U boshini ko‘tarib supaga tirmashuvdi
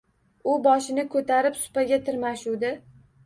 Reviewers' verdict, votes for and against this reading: accepted, 2, 1